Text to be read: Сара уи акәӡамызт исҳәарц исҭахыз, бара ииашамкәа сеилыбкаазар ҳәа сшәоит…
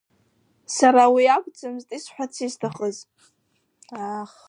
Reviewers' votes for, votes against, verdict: 0, 2, rejected